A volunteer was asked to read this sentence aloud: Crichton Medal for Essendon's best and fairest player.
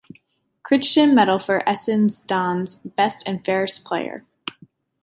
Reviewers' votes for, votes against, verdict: 1, 2, rejected